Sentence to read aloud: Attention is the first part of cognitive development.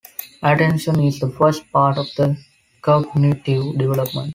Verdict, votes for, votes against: accepted, 2, 1